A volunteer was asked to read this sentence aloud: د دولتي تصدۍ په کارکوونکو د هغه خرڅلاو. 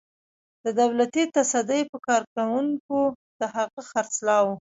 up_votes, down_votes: 1, 2